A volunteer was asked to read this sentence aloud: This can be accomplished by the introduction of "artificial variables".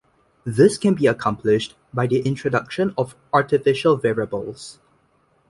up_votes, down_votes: 2, 0